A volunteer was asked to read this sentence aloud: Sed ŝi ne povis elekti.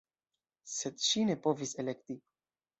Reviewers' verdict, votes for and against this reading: rejected, 1, 2